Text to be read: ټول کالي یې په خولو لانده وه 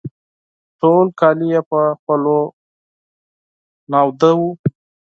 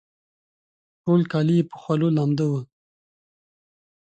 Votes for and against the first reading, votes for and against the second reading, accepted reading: 2, 4, 2, 0, second